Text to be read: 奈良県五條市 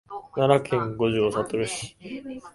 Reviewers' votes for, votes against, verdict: 1, 2, rejected